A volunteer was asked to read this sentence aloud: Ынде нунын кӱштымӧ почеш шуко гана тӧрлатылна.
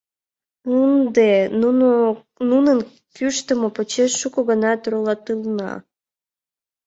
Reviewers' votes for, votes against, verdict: 0, 2, rejected